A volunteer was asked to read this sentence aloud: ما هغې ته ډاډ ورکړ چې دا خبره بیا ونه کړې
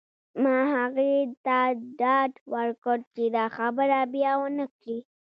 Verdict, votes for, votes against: rejected, 1, 2